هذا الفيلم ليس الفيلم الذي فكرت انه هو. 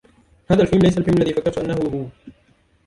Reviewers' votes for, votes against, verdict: 0, 2, rejected